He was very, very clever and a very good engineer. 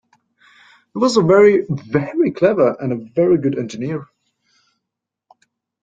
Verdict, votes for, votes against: accepted, 2, 1